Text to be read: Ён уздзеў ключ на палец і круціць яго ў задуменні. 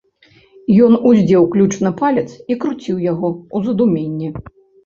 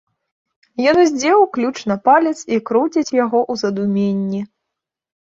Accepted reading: second